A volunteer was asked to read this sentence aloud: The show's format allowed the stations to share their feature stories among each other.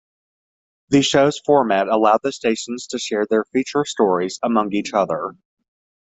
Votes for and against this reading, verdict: 2, 0, accepted